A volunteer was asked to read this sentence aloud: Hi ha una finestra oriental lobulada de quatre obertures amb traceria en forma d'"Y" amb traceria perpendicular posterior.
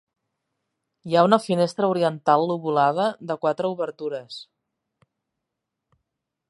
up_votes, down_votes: 0, 2